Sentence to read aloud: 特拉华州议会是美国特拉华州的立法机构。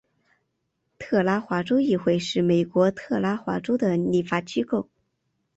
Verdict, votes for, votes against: accepted, 3, 1